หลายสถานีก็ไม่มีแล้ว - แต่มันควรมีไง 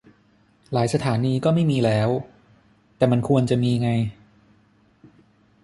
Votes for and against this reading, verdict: 0, 6, rejected